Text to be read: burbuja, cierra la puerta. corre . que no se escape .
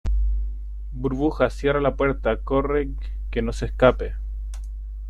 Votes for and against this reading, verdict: 2, 0, accepted